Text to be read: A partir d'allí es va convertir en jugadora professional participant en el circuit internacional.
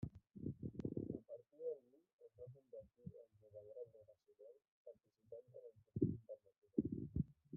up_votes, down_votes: 0, 2